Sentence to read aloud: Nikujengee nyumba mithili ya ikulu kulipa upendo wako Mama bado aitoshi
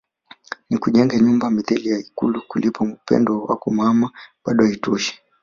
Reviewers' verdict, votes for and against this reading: rejected, 0, 2